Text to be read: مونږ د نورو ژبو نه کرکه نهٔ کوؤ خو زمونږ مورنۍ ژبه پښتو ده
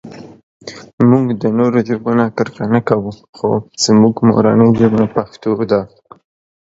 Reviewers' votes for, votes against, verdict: 1, 2, rejected